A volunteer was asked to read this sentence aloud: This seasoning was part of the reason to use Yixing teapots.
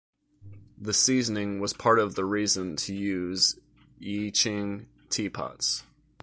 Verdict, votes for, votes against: accepted, 2, 0